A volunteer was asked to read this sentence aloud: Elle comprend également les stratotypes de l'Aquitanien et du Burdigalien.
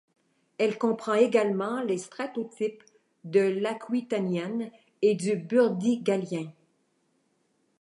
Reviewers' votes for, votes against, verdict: 0, 2, rejected